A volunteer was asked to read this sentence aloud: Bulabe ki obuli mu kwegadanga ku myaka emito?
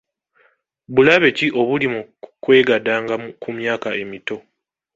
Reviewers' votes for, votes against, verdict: 0, 2, rejected